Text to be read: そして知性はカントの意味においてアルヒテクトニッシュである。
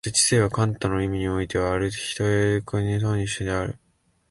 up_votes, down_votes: 1, 2